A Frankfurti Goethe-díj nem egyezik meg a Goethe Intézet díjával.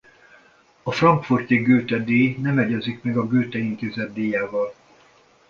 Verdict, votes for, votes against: accepted, 2, 0